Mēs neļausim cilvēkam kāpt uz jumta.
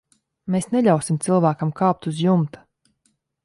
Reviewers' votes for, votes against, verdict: 2, 0, accepted